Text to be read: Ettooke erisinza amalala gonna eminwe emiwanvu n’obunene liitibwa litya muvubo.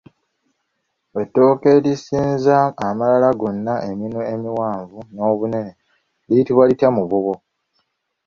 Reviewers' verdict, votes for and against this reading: rejected, 0, 2